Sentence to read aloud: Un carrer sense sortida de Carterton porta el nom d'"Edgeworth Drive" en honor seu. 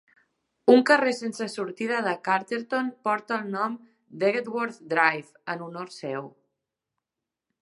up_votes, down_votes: 2, 6